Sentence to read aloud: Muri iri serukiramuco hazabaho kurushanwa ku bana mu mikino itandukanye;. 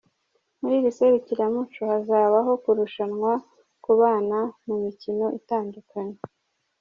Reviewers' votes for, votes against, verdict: 1, 2, rejected